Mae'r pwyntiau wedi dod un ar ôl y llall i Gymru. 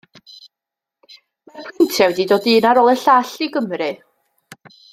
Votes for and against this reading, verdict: 0, 2, rejected